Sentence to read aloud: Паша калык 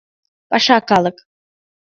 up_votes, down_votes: 2, 0